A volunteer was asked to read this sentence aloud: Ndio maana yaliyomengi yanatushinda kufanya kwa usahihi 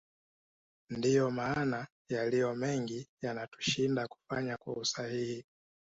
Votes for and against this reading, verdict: 2, 1, accepted